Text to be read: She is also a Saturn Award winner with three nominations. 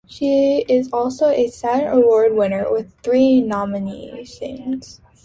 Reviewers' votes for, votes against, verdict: 2, 0, accepted